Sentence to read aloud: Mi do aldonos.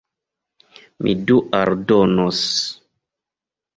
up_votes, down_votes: 1, 2